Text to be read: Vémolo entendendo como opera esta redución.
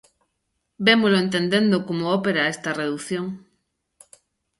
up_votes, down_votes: 1, 2